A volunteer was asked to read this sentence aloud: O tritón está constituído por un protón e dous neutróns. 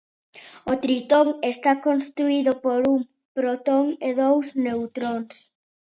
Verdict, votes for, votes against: rejected, 0, 2